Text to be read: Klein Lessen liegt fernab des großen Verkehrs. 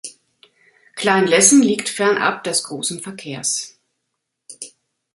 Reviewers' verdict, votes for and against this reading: accepted, 2, 0